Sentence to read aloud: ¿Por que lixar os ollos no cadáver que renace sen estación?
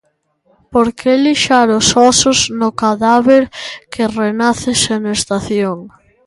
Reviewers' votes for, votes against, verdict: 1, 2, rejected